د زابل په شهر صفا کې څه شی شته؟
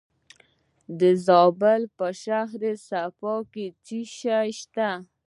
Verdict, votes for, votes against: accepted, 3, 0